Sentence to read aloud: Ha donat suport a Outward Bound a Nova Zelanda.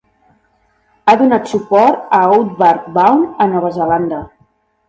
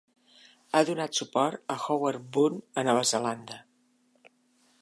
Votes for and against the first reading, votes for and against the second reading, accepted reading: 2, 1, 1, 2, first